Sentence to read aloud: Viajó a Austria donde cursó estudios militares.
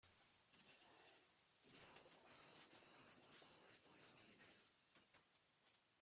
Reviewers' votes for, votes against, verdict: 0, 2, rejected